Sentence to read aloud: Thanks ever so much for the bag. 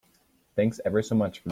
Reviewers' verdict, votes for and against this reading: rejected, 0, 2